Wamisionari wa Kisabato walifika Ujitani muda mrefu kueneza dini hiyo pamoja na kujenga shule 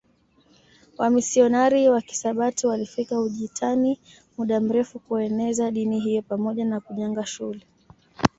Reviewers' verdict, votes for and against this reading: accepted, 2, 0